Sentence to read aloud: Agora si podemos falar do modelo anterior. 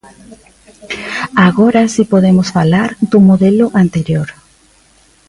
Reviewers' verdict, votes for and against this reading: rejected, 1, 2